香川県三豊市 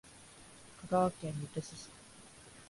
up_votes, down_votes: 1, 2